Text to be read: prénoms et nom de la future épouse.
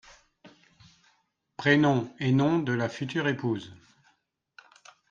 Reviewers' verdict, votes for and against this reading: accepted, 2, 0